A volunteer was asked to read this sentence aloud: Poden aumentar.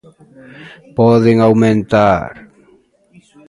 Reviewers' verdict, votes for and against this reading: accepted, 2, 0